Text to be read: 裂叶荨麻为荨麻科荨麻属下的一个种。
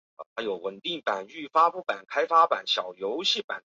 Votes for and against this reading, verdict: 1, 2, rejected